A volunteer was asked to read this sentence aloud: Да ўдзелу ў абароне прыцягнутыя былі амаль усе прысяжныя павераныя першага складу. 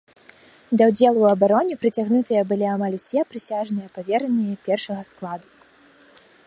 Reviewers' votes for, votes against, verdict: 2, 1, accepted